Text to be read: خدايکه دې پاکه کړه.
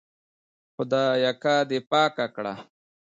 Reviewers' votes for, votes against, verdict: 0, 2, rejected